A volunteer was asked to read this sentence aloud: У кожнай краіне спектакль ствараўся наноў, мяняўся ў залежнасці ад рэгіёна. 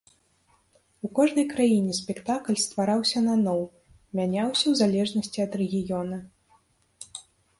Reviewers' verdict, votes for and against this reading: accepted, 2, 0